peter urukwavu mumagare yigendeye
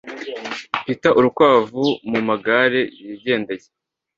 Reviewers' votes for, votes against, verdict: 2, 0, accepted